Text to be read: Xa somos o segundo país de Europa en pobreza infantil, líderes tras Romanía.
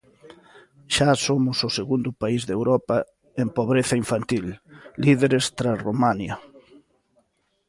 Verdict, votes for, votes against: rejected, 0, 2